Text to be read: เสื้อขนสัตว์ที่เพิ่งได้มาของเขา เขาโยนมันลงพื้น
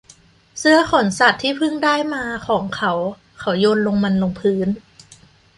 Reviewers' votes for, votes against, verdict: 0, 2, rejected